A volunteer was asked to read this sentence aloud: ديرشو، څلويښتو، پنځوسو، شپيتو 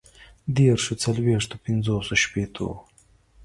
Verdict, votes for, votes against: accepted, 2, 0